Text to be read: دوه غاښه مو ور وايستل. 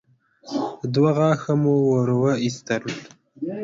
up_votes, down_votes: 1, 2